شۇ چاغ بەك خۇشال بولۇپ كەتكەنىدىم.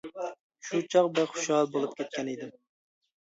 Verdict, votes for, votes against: accepted, 2, 0